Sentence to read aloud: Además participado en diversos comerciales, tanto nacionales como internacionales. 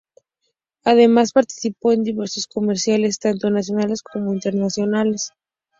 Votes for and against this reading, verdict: 2, 0, accepted